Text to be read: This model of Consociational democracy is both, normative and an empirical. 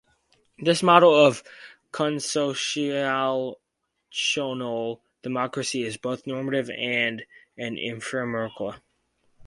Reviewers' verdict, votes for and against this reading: accepted, 4, 0